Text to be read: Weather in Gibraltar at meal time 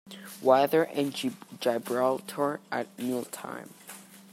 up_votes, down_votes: 0, 2